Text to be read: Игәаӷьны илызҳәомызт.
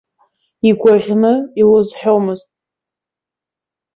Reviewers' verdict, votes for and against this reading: accepted, 2, 0